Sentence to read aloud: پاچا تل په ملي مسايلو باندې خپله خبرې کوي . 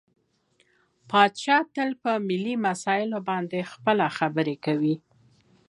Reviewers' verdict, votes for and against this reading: accepted, 2, 0